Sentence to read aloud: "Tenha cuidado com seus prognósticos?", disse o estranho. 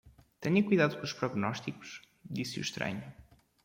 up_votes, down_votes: 1, 2